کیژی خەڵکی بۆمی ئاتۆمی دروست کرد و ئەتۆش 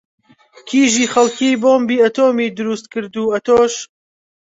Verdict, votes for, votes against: accepted, 2, 0